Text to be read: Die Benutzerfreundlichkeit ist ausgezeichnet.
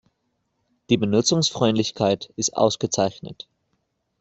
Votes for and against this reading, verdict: 0, 2, rejected